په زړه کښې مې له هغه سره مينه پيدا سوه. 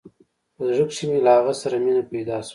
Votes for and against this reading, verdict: 2, 0, accepted